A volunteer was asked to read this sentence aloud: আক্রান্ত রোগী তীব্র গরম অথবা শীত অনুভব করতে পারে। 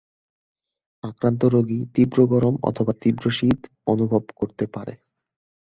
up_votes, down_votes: 0, 6